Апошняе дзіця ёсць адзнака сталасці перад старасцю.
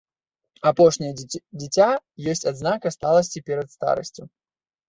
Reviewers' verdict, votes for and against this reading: rejected, 1, 2